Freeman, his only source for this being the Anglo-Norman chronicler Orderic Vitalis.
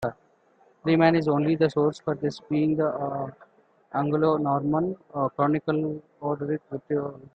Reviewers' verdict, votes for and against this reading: rejected, 0, 2